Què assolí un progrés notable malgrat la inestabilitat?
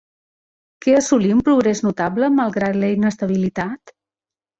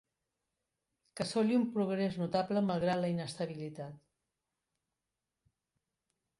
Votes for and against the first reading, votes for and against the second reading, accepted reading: 2, 0, 0, 2, first